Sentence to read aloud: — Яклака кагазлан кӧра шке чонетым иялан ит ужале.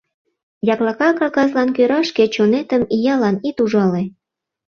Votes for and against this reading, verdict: 2, 0, accepted